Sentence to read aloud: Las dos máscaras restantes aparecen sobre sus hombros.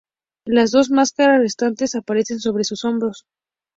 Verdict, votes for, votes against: accepted, 2, 0